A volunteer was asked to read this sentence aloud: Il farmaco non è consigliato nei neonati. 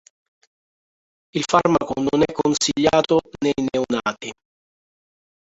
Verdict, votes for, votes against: rejected, 0, 2